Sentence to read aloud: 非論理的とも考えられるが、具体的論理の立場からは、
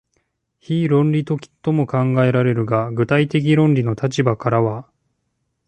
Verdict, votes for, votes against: rejected, 0, 2